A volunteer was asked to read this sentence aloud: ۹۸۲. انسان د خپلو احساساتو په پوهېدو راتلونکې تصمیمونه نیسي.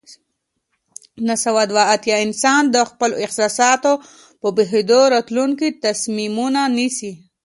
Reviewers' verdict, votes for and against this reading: rejected, 0, 2